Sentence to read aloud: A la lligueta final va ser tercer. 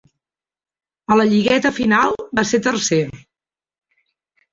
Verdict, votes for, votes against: accepted, 3, 0